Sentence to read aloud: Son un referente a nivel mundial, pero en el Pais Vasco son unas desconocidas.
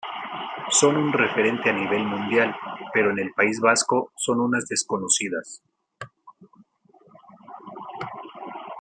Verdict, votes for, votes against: rejected, 1, 2